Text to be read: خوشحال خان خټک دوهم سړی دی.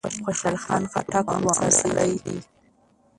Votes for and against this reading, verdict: 0, 2, rejected